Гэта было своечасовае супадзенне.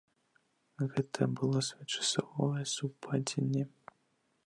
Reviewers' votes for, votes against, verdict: 1, 2, rejected